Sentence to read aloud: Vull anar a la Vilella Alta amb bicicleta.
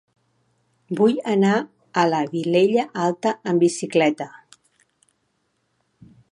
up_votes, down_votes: 2, 0